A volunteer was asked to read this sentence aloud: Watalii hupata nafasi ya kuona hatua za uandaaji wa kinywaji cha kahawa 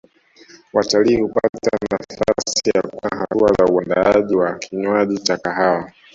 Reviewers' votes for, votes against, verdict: 0, 2, rejected